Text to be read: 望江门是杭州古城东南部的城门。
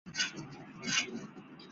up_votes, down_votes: 0, 2